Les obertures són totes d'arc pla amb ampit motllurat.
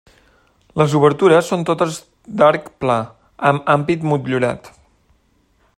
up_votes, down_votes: 3, 0